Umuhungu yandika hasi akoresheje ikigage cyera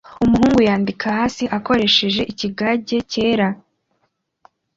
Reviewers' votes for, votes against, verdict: 2, 0, accepted